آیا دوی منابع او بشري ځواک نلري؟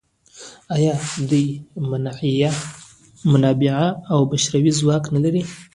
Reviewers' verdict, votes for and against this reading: rejected, 0, 2